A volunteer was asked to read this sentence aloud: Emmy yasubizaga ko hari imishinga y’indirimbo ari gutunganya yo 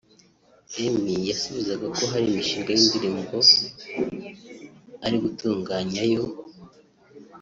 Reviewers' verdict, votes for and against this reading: accepted, 4, 0